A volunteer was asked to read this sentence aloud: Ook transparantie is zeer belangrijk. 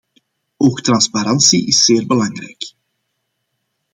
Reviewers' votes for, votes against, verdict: 2, 0, accepted